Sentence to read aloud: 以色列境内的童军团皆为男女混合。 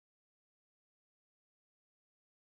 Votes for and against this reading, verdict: 0, 2, rejected